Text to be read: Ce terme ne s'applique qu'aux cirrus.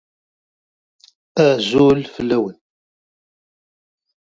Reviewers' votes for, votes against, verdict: 0, 2, rejected